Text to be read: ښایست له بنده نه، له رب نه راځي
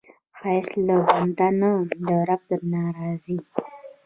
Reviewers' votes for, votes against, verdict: 1, 2, rejected